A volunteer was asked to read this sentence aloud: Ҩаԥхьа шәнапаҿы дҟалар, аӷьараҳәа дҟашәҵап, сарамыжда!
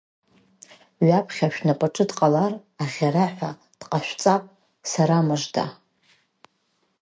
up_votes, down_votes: 3, 0